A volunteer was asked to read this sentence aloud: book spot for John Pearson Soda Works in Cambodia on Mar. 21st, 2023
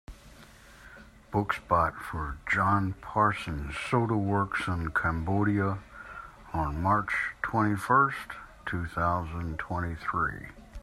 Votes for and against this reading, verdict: 0, 2, rejected